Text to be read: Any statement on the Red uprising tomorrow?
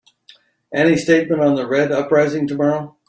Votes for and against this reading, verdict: 2, 0, accepted